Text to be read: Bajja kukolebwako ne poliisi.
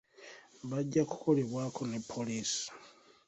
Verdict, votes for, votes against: accepted, 2, 1